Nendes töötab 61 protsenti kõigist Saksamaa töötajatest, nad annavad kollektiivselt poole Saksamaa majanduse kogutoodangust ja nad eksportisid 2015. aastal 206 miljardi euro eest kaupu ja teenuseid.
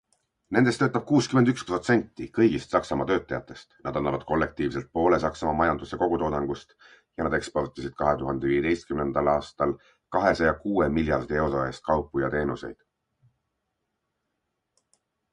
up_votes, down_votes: 0, 2